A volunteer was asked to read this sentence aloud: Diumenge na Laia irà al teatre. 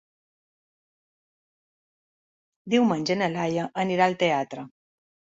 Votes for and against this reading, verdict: 1, 2, rejected